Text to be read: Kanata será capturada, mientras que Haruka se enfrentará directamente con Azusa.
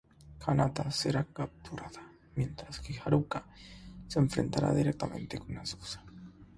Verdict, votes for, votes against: rejected, 3, 3